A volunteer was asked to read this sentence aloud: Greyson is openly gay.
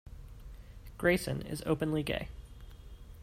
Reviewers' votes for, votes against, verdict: 2, 0, accepted